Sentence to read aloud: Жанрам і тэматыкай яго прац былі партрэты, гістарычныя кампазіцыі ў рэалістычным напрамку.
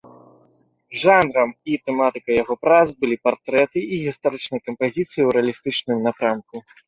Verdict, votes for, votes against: rejected, 1, 3